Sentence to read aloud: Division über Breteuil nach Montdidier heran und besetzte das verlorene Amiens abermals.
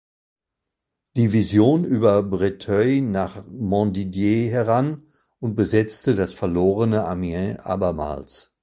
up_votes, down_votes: 1, 2